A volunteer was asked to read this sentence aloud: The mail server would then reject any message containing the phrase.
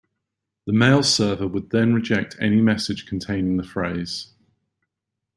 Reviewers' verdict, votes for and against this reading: accepted, 2, 0